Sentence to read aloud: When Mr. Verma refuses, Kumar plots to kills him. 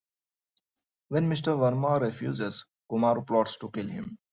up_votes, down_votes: 1, 2